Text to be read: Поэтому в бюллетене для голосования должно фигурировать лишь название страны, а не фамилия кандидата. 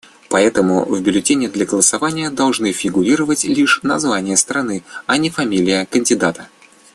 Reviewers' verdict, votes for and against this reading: accepted, 2, 1